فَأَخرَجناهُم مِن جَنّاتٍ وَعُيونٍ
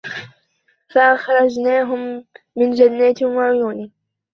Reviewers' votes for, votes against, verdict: 0, 2, rejected